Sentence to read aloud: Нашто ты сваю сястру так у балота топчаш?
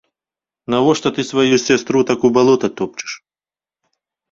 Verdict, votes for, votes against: rejected, 0, 2